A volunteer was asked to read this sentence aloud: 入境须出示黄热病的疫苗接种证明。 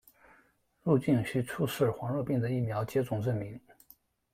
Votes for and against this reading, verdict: 2, 0, accepted